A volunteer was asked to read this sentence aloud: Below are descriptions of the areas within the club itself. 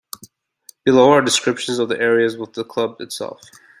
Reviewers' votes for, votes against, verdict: 0, 2, rejected